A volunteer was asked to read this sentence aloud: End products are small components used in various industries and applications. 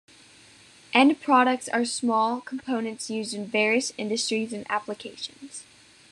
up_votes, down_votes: 2, 0